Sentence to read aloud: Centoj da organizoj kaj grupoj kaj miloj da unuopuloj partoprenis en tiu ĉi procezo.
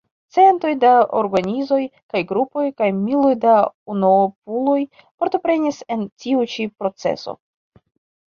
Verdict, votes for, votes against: rejected, 1, 2